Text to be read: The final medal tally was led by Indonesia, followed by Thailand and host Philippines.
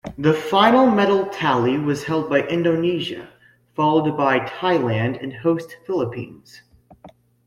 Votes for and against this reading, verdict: 0, 2, rejected